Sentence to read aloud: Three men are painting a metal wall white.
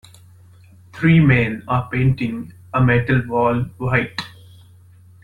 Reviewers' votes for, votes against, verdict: 3, 0, accepted